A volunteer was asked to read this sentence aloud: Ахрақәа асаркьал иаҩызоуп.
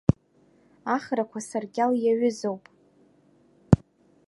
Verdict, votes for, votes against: accepted, 2, 0